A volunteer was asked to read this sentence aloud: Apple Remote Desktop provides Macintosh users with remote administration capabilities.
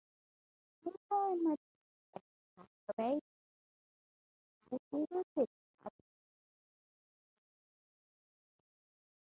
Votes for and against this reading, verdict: 2, 2, rejected